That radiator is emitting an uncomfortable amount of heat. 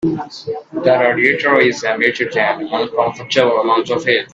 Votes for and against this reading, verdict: 2, 3, rejected